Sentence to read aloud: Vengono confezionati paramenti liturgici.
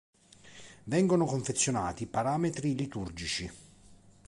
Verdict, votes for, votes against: rejected, 0, 2